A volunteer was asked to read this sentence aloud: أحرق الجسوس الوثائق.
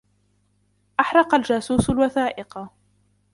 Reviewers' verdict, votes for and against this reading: rejected, 1, 2